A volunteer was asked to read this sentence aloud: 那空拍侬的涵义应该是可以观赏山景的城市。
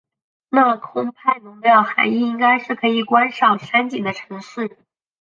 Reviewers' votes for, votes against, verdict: 4, 0, accepted